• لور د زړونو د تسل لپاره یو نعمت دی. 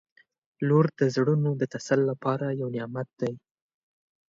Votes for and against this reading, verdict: 1, 2, rejected